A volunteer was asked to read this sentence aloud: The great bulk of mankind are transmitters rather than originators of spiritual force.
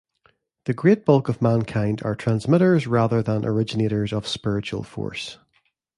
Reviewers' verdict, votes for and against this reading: accepted, 2, 0